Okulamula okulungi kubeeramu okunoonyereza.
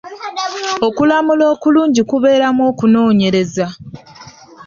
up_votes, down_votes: 0, 2